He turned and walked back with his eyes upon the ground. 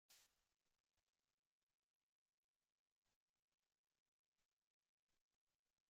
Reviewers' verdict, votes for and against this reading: rejected, 0, 2